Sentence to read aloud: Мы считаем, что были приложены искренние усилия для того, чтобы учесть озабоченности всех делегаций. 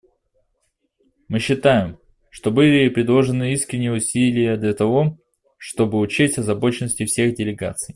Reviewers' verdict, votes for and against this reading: rejected, 0, 2